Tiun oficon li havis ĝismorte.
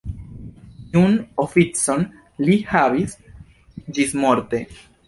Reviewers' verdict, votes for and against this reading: rejected, 0, 3